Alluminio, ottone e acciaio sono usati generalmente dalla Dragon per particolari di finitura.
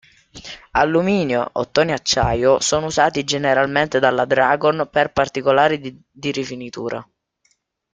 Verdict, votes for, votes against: rejected, 1, 2